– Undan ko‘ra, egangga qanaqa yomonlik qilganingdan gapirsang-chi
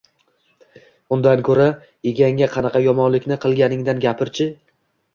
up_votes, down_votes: 0, 2